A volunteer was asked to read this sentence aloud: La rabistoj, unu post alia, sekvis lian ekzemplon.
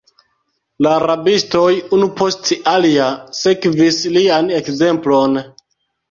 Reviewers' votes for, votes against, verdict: 0, 2, rejected